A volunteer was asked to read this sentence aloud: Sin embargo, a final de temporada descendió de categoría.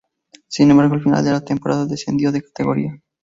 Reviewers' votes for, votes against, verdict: 0, 2, rejected